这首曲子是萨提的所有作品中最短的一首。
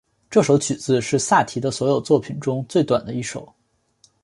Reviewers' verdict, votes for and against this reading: accepted, 4, 0